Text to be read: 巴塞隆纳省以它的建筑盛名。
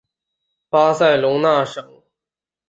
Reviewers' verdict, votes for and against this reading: rejected, 0, 3